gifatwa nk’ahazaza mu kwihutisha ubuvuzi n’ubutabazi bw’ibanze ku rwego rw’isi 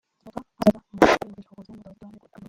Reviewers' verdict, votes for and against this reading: rejected, 0, 2